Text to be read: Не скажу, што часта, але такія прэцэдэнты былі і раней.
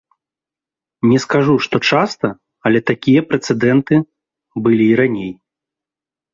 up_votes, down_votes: 2, 0